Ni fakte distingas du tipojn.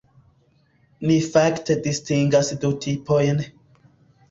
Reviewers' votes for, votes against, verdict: 2, 0, accepted